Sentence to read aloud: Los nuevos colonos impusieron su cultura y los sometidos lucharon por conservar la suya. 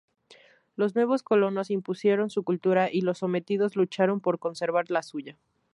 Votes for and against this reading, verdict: 4, 0, accepted